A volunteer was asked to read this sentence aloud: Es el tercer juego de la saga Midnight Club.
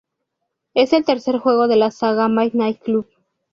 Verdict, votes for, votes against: accepted, 4, 0